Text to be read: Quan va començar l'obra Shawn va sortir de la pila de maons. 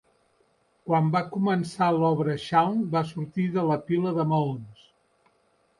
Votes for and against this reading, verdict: 3, 0, accepted